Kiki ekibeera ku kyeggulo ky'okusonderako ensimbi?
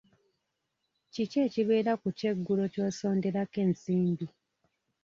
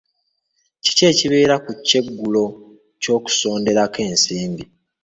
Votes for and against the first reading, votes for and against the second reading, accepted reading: 0, 2, 2, 0, second